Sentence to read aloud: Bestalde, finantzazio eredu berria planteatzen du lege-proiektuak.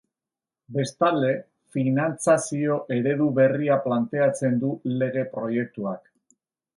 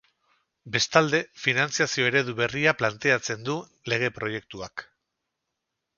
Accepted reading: first